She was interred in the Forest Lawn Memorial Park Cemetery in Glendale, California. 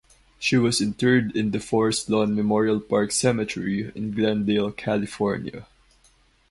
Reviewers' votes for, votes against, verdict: 4, 0, accepted